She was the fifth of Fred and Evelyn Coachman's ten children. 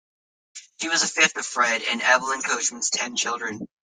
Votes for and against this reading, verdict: 1, 3, rejected